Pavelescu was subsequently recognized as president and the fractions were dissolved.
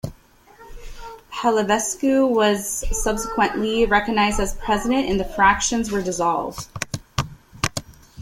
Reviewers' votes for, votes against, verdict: 1, 2, rejected